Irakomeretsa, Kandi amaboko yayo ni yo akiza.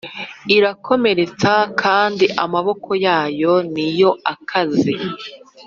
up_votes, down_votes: 1, 4